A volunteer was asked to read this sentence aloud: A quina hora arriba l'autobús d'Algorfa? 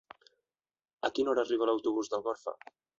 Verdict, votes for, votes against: rejected, 0, 2